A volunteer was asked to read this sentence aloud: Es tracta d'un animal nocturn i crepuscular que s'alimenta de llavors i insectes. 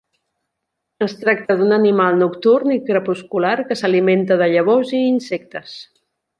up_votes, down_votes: 3, 0